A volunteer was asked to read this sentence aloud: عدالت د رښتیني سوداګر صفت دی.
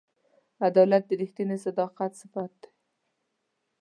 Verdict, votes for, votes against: rejected, 1, 2